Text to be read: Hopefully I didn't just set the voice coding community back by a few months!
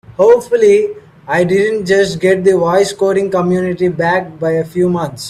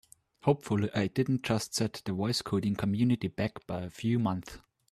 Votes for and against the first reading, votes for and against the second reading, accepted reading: 1, 2, 2, 0, second